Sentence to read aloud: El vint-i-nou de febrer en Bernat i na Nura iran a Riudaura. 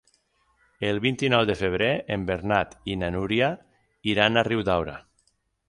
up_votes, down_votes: 3, 6